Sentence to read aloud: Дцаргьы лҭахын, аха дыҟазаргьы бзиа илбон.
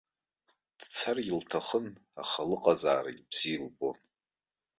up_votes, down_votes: 1, 2